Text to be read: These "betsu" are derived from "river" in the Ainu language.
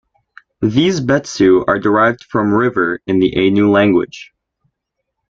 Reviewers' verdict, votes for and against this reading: accepted, 2, 0